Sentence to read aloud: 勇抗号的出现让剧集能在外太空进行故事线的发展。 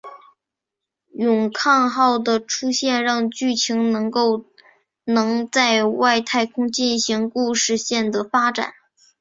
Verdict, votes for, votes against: rejected, 1, 3